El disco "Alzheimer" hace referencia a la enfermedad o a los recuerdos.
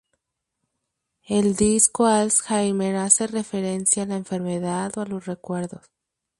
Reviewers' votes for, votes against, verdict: 0, 2, rejected